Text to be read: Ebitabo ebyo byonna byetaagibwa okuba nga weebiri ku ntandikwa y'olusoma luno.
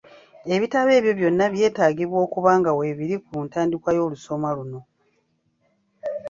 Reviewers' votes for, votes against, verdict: 2, 0, accepted